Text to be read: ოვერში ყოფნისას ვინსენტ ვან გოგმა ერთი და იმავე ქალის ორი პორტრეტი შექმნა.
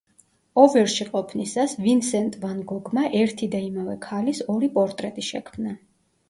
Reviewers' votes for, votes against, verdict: 2, 0, accepted